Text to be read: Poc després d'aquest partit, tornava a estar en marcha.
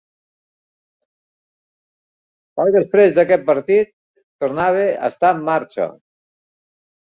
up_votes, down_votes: 0, 2